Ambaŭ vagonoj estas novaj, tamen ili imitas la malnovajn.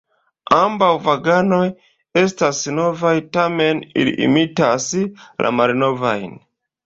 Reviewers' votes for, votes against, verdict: 1, 2, rejected